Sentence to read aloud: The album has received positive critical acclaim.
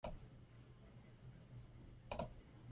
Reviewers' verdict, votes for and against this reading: rejected, 0, 2